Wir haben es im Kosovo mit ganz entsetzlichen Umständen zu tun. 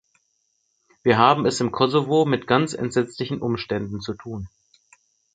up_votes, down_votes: 4, 0